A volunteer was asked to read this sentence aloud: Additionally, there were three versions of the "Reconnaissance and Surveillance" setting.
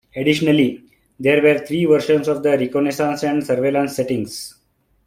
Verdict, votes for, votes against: rejected, 1, 2